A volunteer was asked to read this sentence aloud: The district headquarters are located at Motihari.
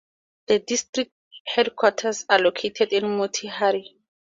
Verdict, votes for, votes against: accepted, 2, 0